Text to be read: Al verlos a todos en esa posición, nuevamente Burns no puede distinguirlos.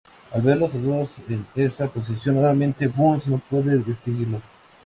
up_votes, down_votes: 0, 2